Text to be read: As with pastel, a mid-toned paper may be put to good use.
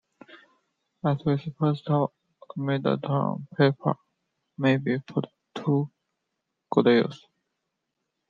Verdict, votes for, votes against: accepted, 2, 0